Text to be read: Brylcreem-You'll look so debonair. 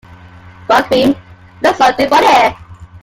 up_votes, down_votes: 0, 2